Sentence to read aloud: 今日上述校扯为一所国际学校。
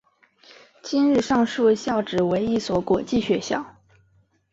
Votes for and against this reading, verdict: 2, 1, accepted